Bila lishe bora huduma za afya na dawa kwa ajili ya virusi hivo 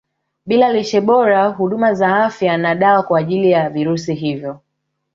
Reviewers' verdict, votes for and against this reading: rejected, 0, 2